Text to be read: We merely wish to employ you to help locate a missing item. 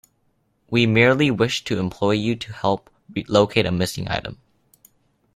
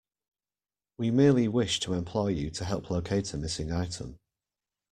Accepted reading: second